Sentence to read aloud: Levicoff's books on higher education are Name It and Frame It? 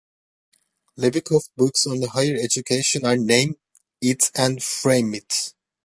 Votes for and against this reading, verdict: 1, 2, rejected